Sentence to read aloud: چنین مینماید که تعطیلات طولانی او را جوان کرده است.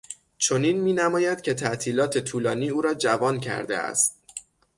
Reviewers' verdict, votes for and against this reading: accepted, 6, 0